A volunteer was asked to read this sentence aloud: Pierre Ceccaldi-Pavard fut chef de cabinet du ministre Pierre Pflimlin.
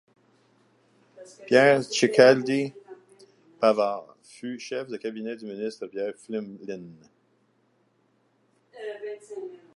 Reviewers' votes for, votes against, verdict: 0, 2, rejected